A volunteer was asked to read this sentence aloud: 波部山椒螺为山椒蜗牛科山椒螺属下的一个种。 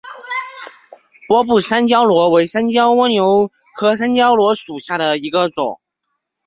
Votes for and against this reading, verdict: 0, 2, rejected